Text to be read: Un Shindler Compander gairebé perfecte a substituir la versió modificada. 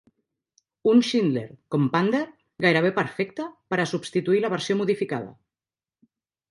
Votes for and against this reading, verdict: 1, 3, rejected